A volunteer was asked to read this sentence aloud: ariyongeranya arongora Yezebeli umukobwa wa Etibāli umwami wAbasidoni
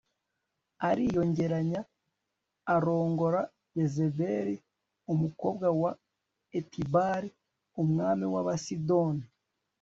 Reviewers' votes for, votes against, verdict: 2, 0, accepted